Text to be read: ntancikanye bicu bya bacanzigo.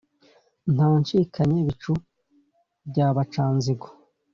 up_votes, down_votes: 2, 0